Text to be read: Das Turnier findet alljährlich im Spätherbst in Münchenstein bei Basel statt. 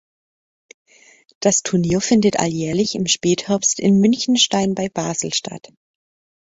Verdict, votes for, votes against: accepted, 2, 0